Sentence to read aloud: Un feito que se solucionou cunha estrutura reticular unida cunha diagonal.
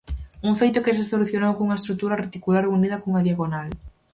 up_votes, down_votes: 4, 0